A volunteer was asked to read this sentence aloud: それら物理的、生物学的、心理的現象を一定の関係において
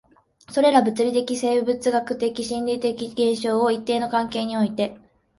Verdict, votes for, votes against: rejected, 1, 2